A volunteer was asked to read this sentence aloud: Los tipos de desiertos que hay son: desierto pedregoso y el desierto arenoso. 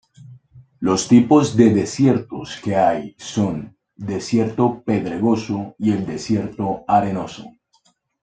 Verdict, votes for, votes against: accepted, 2, 0